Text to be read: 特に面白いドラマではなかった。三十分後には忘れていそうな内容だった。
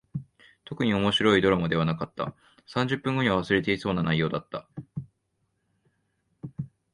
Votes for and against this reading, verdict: 2, 0, accepted